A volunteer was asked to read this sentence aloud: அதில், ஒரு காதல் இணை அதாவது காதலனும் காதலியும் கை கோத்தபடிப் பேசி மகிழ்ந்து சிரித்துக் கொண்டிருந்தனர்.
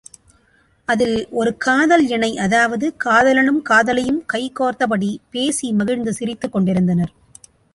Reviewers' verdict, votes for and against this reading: accepted, 3, 0